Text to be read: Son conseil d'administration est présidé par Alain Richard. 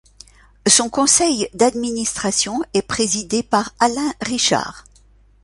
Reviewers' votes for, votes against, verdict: 2, 0, accepted